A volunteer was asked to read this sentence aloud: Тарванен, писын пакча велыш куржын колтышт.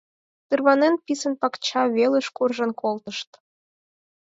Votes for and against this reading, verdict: 4, 0, accepted